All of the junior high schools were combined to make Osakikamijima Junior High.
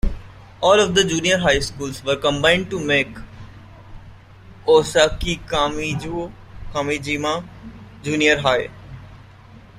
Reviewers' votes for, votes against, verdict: 0, 2, rejected